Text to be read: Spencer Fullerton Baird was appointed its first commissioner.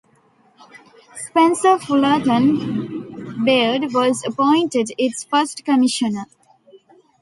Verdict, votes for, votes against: accepted, 2, 0